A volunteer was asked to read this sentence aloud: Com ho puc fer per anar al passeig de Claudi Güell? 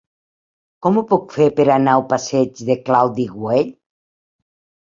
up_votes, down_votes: 3, 0